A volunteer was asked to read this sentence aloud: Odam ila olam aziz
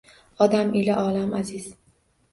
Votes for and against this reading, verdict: 2, 0, accepted